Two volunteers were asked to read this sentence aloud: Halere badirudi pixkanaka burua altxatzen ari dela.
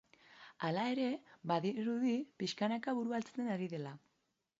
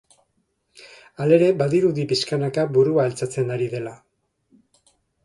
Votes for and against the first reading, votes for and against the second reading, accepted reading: 2, 3, 2, 0, second